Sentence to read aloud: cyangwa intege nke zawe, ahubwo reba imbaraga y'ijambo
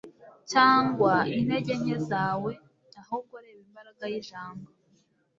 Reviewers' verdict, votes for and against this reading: accepted, 2, 0